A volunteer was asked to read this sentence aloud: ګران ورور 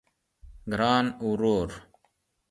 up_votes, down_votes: 2, 0